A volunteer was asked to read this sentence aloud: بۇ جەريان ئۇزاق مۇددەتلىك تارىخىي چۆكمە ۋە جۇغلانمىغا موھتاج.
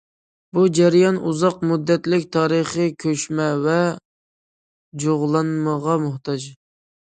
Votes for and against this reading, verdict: 0, 2, rejected